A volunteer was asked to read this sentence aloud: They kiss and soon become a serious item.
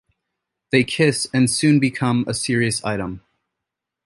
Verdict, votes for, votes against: accepted, 2, 0